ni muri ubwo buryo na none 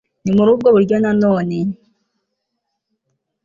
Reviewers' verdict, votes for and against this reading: accepted, 2, 0